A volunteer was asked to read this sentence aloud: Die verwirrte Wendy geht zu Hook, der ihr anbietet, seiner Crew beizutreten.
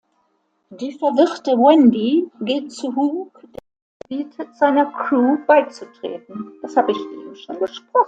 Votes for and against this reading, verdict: 0, 2, rejected